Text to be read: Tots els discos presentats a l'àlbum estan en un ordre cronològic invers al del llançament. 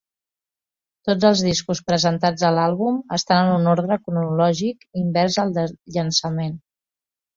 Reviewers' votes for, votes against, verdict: 3, 1, accepted